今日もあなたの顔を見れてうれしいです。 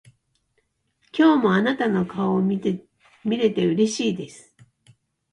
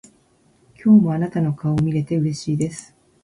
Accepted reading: first